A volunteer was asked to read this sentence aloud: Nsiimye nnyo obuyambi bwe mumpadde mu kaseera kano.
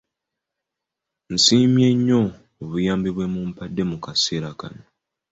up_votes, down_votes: 2, 0